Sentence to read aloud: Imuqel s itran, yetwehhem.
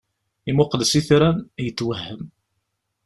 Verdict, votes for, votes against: accepted, 2, 0